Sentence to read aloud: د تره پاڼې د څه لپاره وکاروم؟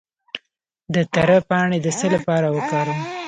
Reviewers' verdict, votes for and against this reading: rejected, 1, 2